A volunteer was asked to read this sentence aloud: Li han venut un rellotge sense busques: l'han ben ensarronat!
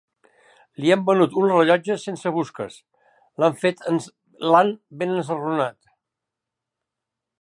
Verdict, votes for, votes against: rejected, 0, 3